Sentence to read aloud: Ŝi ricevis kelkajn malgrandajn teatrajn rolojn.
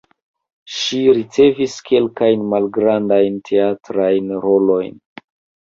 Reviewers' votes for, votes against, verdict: 0, 2, rejected